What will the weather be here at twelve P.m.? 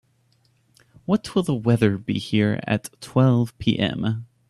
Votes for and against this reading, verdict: 2, 0, accepted